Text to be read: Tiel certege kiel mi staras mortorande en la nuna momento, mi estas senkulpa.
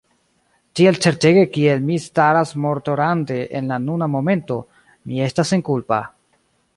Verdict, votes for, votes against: accepted, 2, 0